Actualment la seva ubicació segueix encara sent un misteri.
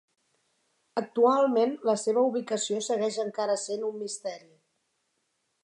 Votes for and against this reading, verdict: 4, 0, accepted